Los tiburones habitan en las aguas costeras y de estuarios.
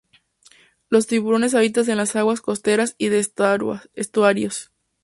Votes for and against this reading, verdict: 0, 2, rejected